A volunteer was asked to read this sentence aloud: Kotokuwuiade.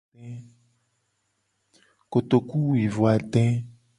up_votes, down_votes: 1, 2